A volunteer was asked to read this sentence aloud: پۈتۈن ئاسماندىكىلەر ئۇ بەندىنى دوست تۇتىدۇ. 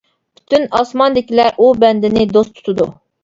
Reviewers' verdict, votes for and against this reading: accepted, 2, 0